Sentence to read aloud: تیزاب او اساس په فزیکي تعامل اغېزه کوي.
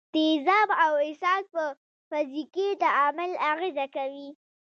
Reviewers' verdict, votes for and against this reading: rejected, 1, 2